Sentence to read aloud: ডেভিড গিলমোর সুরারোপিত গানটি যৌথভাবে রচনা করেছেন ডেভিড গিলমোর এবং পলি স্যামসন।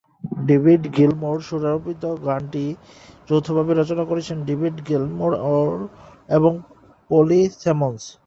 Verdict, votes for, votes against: rejected, 3, 8